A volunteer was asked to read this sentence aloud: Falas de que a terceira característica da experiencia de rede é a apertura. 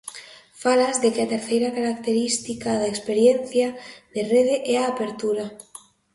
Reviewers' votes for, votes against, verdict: 2, 0, accepted